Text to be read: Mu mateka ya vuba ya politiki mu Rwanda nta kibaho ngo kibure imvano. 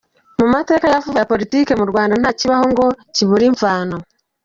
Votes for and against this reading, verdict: 2, 0, accepted